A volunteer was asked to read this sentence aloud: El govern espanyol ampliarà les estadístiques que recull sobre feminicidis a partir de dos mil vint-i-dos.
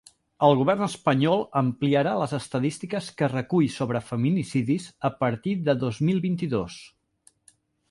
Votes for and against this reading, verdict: 4, 0, accepted